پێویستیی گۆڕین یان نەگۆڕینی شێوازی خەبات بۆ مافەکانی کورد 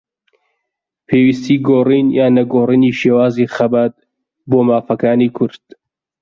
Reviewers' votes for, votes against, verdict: 2, 0, accepted